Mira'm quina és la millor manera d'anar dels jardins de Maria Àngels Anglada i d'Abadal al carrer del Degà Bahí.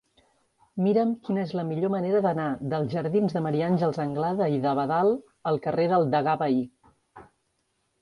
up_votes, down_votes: 2, 0